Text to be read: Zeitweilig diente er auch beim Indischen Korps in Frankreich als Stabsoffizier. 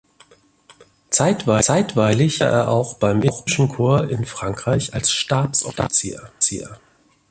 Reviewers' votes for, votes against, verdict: 0, 2, rejected